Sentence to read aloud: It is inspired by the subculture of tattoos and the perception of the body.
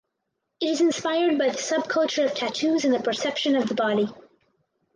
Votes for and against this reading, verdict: 4, 0, accepted